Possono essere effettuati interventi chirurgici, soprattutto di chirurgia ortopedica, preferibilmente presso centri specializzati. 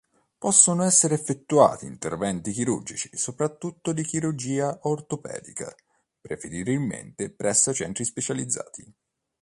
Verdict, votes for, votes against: rejected, 1, 2